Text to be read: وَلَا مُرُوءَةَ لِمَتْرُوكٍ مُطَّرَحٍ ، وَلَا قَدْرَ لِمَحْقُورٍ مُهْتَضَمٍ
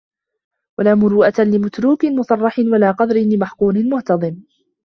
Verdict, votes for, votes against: rejected, 1, 2